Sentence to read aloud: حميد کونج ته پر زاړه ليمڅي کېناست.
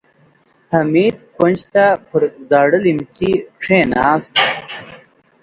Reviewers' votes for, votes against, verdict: 4, 0, accepted